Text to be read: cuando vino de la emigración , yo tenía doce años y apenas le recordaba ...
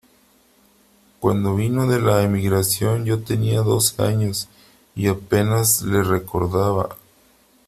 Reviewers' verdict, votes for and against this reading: accepted, 3, 2